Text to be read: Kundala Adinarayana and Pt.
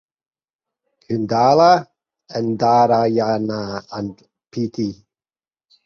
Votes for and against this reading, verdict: 0, 4, rejected